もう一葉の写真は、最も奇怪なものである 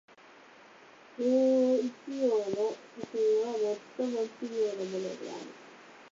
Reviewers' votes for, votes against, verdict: 2, 2, rejected